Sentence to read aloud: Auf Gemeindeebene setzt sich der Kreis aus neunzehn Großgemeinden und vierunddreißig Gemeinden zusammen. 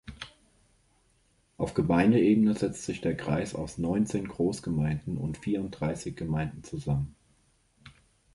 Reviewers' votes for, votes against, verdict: 2, 0, accepted